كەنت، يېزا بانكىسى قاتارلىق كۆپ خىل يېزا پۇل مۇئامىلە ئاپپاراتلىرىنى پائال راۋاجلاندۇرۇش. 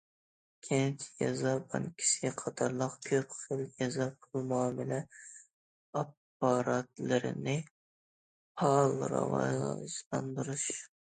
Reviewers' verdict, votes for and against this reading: rejected, 0, 2